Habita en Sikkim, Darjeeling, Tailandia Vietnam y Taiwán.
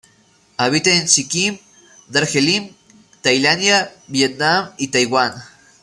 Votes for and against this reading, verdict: 2, 0, accepted